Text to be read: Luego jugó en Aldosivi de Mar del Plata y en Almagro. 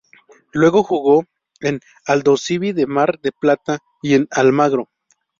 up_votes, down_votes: 0, 2